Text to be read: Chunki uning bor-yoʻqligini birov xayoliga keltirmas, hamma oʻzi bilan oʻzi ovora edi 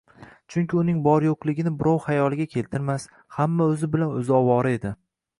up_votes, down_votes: 2, 1